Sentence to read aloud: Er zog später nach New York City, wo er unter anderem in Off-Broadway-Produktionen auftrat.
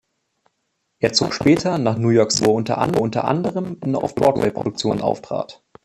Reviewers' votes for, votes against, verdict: 0, 3, rejected